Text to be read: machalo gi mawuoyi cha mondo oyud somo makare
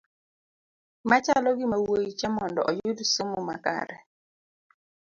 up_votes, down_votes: 2, 0